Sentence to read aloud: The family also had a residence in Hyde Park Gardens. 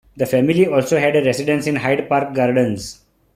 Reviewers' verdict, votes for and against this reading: accepted, 2, 0